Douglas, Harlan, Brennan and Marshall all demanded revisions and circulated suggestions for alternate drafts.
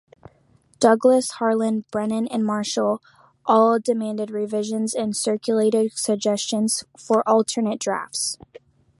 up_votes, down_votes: 3, 1